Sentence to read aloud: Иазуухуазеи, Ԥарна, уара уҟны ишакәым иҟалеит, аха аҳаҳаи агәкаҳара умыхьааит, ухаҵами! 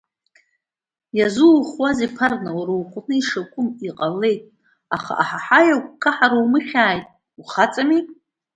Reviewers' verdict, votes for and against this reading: accepted, 2, 1